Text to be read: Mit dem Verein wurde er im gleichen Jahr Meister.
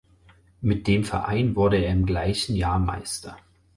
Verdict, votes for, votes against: accepted, 4, 0